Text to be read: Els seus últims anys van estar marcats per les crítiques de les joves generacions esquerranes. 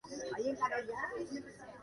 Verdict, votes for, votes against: rejected, 0, 2